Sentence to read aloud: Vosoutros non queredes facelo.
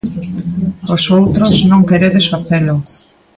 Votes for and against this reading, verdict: 1, 2, rejected